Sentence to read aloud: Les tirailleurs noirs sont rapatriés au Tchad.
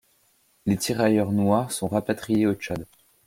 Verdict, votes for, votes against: accepted, 2, 0